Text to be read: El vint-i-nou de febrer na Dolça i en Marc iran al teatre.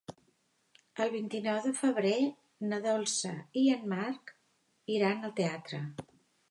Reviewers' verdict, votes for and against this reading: accepted, 2, 0